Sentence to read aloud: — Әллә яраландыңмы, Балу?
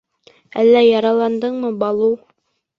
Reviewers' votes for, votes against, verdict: 3, 0, accepted